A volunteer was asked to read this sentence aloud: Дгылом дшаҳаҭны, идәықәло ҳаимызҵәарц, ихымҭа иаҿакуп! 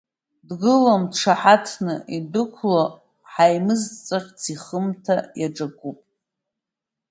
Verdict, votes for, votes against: rejected, 1, 2